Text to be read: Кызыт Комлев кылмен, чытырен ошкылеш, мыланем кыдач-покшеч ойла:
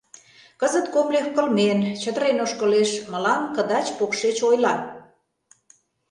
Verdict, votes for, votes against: rejected, 1, 2